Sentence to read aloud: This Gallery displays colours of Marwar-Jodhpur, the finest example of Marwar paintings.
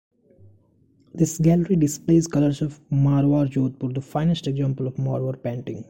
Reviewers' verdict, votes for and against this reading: rejected, 1, 2